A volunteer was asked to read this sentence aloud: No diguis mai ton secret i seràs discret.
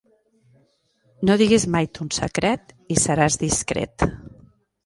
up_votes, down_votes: 2, 0